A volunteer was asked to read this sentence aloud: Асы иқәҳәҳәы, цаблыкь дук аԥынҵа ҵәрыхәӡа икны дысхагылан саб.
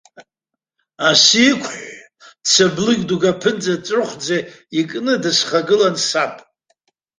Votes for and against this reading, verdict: 2, 1, accepted